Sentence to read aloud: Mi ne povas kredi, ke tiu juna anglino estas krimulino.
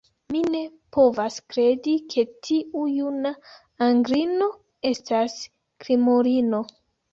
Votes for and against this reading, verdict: 2, 0, accepted